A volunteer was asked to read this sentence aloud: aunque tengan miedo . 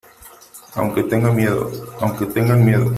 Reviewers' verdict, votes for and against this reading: rejected, 0, 2